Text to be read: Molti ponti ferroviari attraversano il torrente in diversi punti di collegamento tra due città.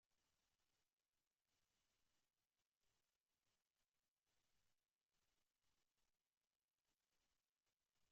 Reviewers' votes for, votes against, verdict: 0, 2, rejected